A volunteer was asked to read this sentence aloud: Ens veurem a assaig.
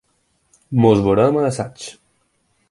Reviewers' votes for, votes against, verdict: 0, 4, rejected